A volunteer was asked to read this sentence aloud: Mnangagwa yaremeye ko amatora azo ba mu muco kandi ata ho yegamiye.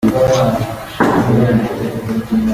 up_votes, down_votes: 0, 2